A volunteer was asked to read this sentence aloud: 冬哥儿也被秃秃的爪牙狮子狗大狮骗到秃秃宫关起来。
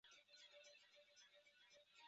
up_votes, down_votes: 0, 4